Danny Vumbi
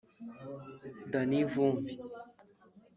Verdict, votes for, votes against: accepted, 2, 0